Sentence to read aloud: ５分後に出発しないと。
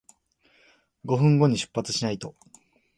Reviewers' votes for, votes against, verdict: 0, 2, rejected